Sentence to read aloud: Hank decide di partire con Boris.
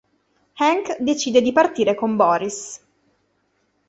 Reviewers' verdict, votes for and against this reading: accepted, 3, 0